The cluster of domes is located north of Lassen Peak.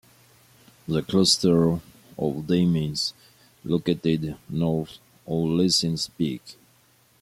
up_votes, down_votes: 2, 1